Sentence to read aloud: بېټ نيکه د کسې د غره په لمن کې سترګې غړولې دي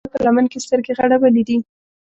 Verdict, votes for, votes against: rejected, 1, 2